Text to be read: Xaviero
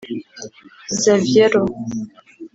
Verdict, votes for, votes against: rejected, 1, 2